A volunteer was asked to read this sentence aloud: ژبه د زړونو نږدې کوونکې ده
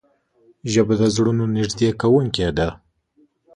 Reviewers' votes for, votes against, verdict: 2, 0, accepted